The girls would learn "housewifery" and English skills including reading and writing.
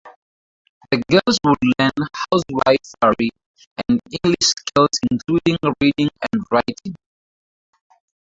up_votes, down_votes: 2, 2